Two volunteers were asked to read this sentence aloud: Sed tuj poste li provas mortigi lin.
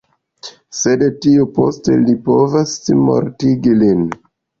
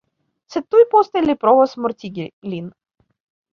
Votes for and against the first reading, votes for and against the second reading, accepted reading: 1, 2, 2, 0, second